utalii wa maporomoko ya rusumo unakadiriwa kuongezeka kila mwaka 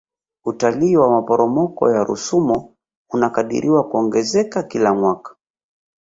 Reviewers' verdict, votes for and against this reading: rejected, 1, 2